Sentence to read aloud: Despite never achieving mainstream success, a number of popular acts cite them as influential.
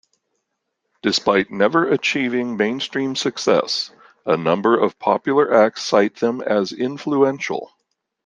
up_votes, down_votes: 2, 0